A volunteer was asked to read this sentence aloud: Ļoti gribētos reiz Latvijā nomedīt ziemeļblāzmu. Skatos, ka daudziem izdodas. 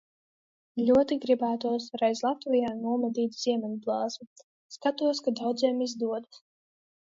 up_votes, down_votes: 2, 0